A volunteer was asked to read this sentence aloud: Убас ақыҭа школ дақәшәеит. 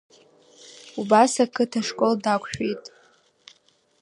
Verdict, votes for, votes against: accepted, 2, 0